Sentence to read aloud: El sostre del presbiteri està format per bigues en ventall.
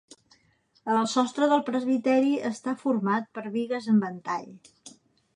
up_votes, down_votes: 2, 0